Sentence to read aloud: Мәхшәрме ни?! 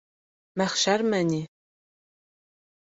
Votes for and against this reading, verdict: 4, 0, accepted